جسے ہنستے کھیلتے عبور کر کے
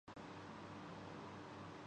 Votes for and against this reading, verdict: 0, 2, rejected